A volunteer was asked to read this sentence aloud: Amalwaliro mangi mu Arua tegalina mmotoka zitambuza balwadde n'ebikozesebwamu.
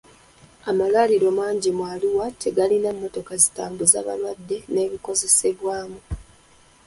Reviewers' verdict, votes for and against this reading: rejected, 0, 2